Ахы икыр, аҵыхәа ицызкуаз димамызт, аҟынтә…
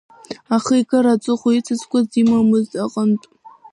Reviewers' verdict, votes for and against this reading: rejected, 0, 2